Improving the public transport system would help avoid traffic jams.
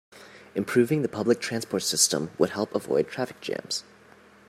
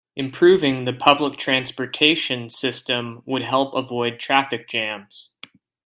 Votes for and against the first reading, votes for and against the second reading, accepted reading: 2, 0, 0, 2, first